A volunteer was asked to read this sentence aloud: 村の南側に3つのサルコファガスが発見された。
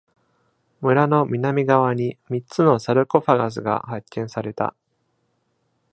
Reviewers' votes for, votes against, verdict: 0, 2, rejected